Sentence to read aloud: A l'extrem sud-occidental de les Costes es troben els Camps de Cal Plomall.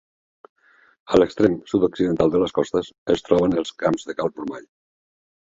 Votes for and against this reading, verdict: 0, 2, rejected